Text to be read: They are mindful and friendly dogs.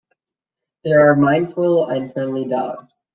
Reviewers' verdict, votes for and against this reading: accepted, 2, 1